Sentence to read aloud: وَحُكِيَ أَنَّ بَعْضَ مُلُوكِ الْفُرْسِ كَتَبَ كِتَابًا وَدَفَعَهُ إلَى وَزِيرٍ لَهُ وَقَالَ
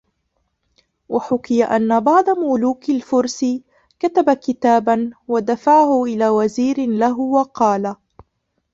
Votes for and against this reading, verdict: 1, 2, rejected